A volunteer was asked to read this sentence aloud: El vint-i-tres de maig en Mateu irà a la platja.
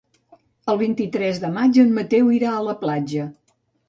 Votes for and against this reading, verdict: 2, 0, accepted